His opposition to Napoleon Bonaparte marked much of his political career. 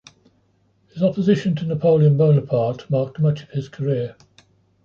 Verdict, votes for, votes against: rejected, 0, 2